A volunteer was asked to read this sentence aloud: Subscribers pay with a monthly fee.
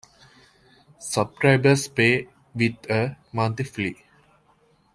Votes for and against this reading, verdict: 0, 2, rejected